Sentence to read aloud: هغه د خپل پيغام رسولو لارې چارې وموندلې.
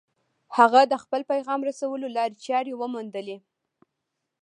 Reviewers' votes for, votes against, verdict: 2, 1, accepted